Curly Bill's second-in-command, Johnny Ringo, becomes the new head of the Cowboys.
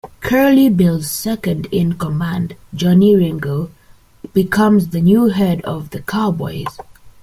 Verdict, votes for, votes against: accepted, 3, 1